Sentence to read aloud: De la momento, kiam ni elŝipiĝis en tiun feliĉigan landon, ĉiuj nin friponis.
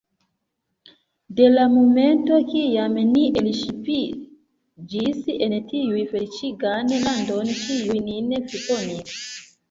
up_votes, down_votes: 1, 2